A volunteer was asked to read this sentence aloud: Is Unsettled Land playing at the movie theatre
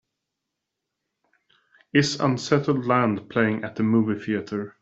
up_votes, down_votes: 2, 0